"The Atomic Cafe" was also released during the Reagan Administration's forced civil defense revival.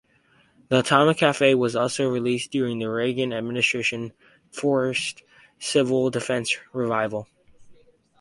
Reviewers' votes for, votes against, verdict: 0, 4, rejected